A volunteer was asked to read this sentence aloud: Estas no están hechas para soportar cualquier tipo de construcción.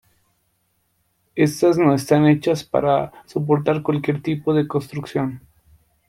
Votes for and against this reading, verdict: 1, 2, rejected